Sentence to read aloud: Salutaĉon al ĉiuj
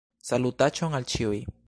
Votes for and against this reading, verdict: 2, 0, accepted